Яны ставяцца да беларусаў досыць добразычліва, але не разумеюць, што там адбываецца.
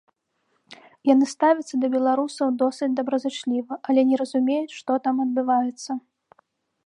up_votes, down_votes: 2, 0